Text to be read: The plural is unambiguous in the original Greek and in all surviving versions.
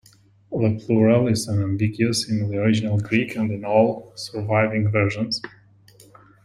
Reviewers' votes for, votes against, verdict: 2, 0, accepted